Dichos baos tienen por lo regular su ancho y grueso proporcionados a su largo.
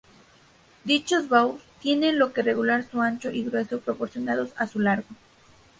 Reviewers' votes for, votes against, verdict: 0, 2, rejected